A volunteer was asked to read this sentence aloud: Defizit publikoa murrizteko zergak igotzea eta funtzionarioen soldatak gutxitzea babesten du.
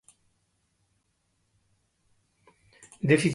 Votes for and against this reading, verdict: 0, 6, rejected